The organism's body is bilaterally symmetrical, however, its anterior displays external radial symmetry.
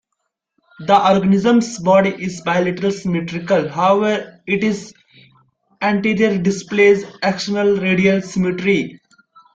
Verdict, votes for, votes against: rejected, 0, 2